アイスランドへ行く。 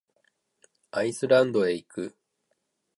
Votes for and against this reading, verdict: 2, 0, accepted